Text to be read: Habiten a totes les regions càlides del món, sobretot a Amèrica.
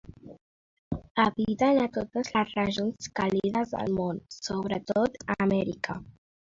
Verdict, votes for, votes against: rejected, 0, 2